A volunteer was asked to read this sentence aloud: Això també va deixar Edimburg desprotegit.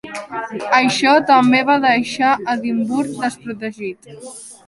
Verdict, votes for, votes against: accepted, 4, 0